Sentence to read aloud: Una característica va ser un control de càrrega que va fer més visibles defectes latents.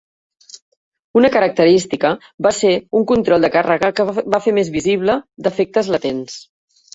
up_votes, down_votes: 1, 2